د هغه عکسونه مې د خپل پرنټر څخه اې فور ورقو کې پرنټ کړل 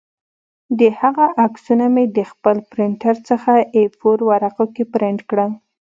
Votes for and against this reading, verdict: 2, 0, accepted